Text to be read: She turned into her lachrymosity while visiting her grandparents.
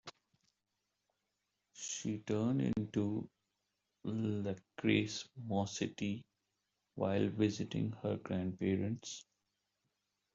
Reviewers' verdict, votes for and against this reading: rejected, 0, 2